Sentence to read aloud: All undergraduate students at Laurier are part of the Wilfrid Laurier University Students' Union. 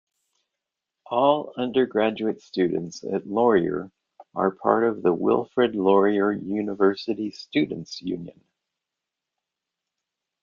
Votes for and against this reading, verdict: 2, 0, accepted